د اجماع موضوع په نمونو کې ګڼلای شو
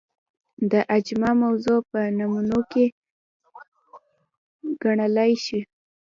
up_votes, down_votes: 1, 2